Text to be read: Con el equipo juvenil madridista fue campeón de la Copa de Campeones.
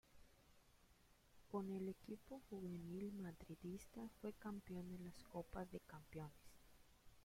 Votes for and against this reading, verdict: 0, 2, rejected